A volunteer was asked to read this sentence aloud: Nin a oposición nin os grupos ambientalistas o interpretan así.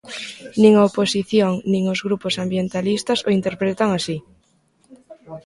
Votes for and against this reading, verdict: 0, 2, rejected